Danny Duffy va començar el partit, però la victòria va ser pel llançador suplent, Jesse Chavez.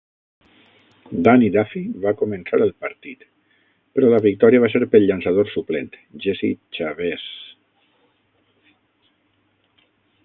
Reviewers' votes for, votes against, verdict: 3, 6, rejected